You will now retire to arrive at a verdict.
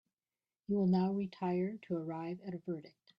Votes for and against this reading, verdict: 3, 0, accepted